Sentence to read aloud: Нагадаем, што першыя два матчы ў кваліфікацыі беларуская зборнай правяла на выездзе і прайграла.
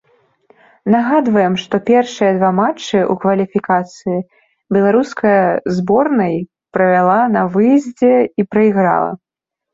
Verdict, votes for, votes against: rejected, 0, 2